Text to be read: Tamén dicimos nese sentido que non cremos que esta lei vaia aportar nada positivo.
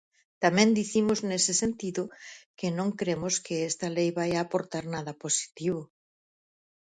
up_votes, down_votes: 4, 0